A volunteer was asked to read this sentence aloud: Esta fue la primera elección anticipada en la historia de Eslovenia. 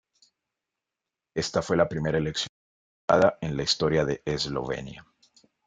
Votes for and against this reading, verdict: 0, 2, rejected